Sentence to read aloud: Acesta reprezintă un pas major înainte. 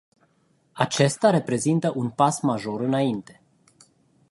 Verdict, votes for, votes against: accepted, 2, 0